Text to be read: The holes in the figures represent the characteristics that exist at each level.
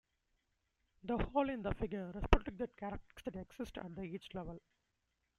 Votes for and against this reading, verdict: 0, 2, rejected